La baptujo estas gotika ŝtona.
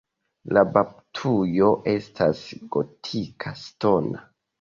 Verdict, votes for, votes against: accepted, 2, 0